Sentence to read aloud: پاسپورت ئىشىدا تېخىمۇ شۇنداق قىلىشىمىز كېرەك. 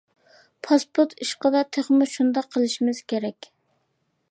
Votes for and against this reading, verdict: 2, 0, accepted